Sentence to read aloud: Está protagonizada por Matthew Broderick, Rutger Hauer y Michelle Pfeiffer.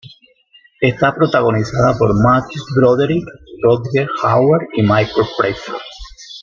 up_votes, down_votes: 1, 2